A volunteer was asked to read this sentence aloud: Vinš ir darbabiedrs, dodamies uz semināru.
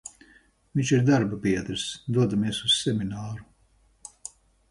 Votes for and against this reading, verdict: 4, 0, accepted